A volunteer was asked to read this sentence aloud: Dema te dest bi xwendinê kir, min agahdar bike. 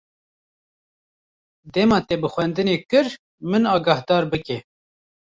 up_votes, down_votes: 1, 2